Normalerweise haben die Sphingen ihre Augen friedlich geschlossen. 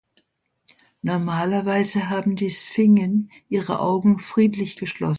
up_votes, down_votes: 2, 1